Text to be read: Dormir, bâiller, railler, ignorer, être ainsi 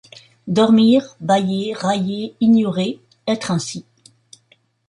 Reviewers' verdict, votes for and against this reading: accepted, 2, 0